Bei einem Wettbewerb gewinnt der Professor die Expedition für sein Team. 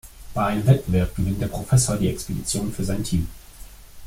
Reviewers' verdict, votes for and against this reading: rejected, 0, 2